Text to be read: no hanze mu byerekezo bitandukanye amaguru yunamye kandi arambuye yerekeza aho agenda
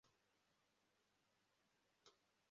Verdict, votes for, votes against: rejected, 0, 2